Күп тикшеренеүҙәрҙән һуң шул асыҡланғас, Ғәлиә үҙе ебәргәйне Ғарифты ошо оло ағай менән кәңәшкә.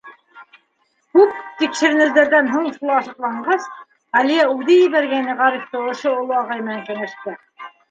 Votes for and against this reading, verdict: 1, 2, rejected